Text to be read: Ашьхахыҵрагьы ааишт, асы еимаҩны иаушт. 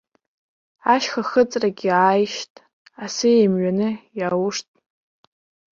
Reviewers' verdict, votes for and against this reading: rejected, 1, 2